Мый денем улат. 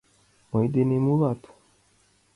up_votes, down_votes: 2, 1